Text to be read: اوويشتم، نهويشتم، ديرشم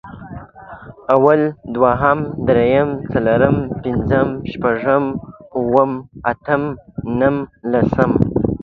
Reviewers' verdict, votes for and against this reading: rejected, 0, 2